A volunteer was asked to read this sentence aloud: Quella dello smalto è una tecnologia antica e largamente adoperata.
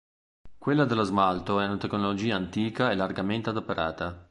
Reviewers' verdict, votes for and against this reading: accepted, 2, 0